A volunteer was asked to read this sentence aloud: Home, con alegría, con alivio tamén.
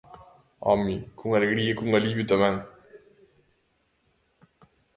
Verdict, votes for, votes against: accepted, 2, 0